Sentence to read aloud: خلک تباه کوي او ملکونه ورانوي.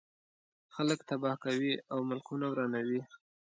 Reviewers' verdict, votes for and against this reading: accepted, 2, 0